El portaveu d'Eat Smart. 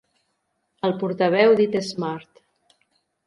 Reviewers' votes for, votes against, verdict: 2, 0, accepted